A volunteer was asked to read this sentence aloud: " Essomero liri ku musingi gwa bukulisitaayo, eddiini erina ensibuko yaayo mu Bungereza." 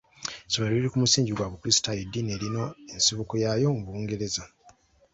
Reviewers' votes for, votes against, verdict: 3, 0, accepted